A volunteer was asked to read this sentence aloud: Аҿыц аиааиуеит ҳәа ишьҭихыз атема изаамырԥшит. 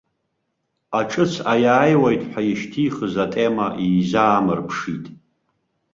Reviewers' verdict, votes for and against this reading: accepted, 2, 0